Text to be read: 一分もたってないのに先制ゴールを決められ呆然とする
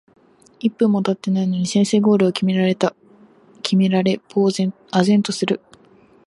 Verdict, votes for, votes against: rejected, 1, 2